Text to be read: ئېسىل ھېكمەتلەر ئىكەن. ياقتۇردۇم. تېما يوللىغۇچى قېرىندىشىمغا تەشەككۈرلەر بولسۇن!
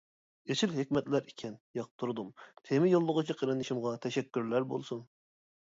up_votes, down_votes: 2, 0